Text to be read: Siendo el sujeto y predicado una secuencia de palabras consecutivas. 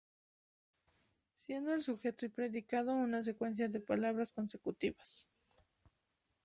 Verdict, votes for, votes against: accepted, 2, 0